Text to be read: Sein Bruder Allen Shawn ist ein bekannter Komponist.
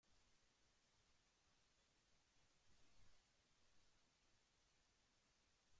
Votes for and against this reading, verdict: 0, 2, rejected